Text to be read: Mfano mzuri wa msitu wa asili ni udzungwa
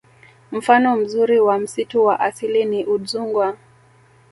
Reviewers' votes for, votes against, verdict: 2, 0, accepted